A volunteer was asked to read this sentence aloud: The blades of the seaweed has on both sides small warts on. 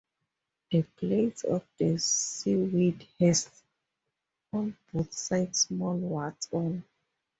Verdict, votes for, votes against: accepted, 2, 0